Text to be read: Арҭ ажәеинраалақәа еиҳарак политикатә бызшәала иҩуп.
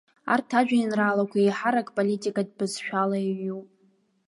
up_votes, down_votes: 2, 0